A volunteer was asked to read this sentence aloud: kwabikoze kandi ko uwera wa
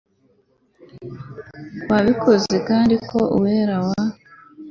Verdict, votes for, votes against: accepted, 2, 0